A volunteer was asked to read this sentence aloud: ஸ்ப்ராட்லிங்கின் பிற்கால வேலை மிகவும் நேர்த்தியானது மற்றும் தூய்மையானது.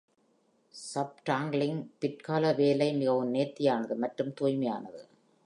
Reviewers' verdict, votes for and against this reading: rejected, 1, 2